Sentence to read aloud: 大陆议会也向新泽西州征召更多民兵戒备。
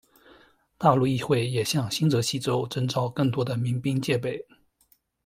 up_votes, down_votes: 2, 0